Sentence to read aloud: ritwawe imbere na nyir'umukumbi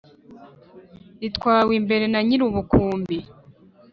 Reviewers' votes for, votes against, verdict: 1, 2, rejected